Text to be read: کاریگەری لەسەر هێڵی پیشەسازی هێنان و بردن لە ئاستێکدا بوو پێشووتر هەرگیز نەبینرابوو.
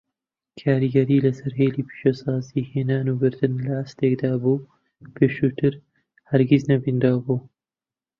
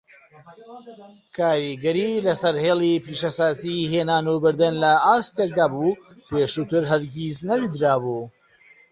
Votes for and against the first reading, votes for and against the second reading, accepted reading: 2, 0, 0, 2, first